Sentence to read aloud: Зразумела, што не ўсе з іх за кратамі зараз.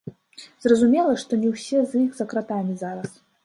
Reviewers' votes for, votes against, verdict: 0, 2, rejected